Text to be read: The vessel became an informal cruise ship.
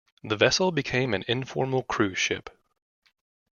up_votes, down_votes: 2, 0